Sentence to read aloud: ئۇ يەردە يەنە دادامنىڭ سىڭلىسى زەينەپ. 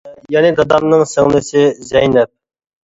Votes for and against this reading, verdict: 0, 2, rejected